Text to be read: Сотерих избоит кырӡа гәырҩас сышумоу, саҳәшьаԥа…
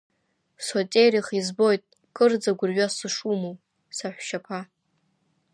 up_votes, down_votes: 2, 1